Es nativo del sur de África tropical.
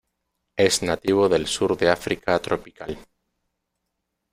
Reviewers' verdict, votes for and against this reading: rejected, 1, 2